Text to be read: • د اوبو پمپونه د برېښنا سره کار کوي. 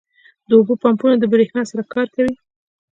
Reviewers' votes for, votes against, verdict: 2, 0, accepted